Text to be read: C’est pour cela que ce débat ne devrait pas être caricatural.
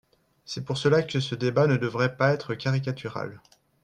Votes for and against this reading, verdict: 3, 1, accepted